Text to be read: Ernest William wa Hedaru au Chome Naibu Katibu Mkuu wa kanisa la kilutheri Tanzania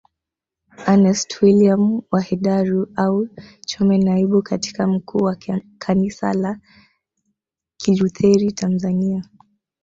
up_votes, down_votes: 1, 2